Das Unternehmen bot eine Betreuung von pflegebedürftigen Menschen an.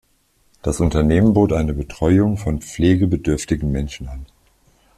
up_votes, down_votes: 2, 0